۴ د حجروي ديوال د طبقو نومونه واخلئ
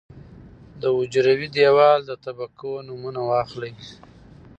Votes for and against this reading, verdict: 0, 2, rejected